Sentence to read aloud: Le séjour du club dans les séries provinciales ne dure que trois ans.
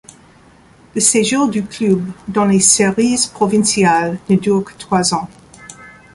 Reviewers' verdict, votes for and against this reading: accepted, 2, 0